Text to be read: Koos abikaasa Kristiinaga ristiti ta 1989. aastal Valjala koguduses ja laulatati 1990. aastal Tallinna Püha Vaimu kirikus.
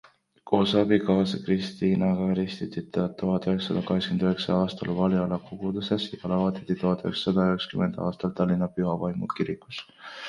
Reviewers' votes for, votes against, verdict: 0, 2, rejected